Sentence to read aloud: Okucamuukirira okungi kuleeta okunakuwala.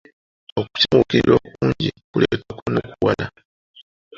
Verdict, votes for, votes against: rejected, 0, 2